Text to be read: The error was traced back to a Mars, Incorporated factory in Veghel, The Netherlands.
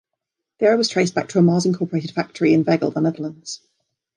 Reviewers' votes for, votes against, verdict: 1, 2, rejected